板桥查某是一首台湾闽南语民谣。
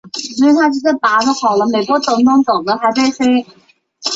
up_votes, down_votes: 0, 2